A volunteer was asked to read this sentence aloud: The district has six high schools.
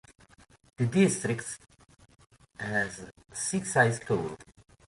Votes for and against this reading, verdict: 1, 2, rejected